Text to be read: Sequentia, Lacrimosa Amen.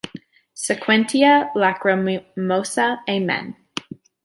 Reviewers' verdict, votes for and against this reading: rejected, 1, 2